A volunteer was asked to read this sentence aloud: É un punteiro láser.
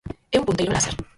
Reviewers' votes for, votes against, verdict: 0, 4, rejected